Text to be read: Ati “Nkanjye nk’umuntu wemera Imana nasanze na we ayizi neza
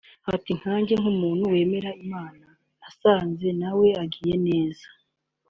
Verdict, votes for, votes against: rejected, 1, 2